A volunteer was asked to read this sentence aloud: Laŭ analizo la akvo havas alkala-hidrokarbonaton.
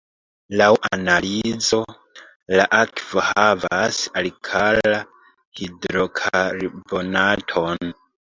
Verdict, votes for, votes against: rejected, 1, 2